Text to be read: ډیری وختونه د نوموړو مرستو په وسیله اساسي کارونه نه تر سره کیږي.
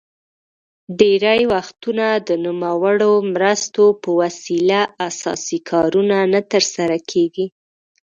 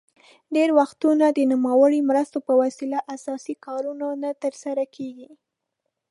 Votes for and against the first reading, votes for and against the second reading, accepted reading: 2, 0, 1, 2, first